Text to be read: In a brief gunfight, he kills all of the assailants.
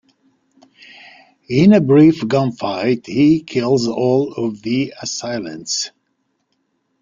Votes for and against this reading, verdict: 2, 0, accepted